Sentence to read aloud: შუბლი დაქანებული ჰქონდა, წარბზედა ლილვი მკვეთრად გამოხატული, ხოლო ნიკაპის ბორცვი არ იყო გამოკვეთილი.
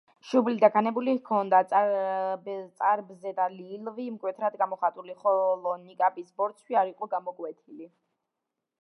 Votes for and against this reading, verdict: 1, 2, rejected